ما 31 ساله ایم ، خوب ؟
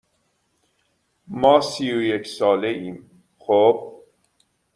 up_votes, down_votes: 0, 2